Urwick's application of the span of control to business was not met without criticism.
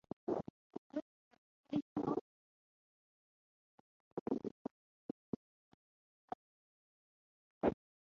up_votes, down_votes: 0, 3